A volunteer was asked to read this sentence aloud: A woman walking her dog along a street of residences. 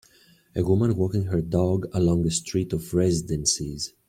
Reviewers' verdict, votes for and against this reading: rejected, 1, 2